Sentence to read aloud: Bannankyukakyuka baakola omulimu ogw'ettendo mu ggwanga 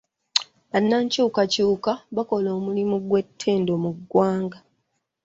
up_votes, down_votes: 0, 2